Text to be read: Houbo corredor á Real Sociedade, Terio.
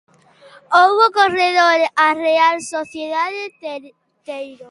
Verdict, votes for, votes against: rejected, 0, 2